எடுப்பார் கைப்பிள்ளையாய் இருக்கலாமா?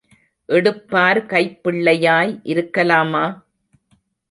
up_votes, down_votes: 3, 0